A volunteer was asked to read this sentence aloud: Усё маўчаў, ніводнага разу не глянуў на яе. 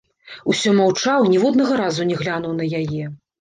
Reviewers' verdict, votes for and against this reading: rejected, 1, 2